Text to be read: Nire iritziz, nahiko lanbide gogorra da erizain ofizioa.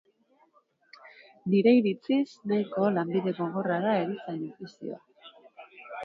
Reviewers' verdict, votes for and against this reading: rejected, 2, 3